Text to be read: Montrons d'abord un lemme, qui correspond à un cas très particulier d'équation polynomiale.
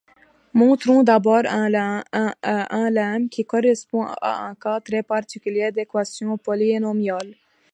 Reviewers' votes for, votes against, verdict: 2, 1, accepted